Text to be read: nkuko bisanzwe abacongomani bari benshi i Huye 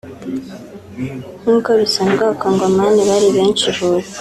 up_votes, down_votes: 2, 0